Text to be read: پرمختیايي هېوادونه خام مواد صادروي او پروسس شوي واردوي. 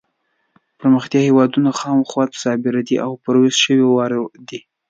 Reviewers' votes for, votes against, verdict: 2, 3, rejected